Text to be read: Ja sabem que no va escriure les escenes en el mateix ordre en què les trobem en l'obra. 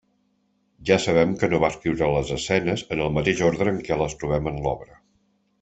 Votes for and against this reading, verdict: 3, 0, accepted